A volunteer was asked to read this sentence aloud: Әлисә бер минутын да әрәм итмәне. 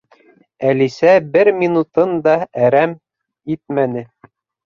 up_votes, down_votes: 2, 0